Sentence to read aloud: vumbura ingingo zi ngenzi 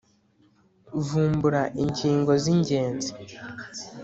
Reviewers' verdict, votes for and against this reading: accepted, 2, 0